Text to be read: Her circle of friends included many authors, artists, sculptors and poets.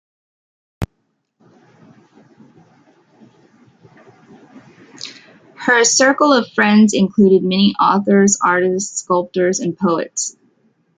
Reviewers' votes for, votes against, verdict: 1, 2, rejected